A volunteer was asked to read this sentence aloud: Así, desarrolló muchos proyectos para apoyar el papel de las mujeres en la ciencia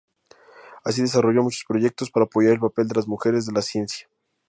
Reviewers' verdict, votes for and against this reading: rejected, 0, 2